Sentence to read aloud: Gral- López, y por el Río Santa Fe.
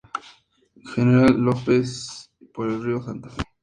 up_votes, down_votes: 2, 0